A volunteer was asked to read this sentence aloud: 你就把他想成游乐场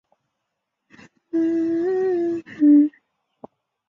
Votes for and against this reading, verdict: 1, 2, rejected